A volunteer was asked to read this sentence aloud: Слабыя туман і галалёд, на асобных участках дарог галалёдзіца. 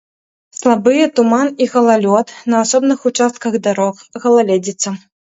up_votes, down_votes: 0, 2